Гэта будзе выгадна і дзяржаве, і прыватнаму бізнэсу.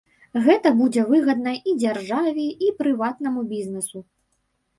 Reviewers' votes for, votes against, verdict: 2, 0, accepted